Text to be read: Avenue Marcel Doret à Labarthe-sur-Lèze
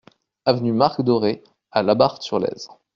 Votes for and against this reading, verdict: 0, 2, rejected